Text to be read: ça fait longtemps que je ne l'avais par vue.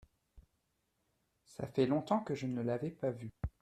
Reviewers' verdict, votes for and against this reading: accepted, 2, 0